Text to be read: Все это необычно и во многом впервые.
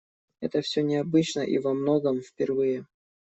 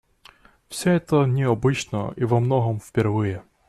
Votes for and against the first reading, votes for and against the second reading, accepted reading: 0, 2, 2, 0, second